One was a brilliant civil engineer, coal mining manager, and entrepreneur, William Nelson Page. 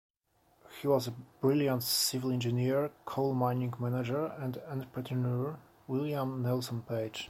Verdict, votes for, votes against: rejected, 0, 2